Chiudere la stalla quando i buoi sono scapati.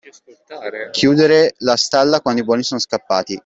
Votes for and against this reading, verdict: 0, 2, rejected